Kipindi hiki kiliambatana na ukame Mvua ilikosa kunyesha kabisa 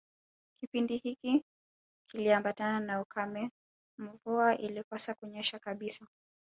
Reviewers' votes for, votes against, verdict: 2, 0, accepted